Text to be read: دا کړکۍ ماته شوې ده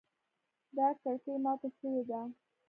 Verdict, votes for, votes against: accepted, 2, 0